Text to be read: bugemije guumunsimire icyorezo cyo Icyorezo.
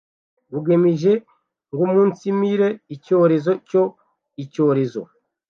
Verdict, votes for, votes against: rejected, 1, 2